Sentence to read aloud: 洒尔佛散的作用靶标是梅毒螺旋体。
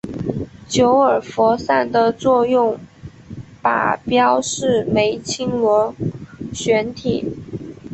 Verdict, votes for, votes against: rejected, 1, 2